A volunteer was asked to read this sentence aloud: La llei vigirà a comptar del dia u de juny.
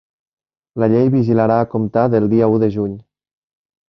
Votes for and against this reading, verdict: 1, 2, rejected